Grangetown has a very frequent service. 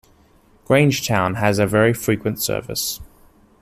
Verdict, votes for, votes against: accepted, 2, 0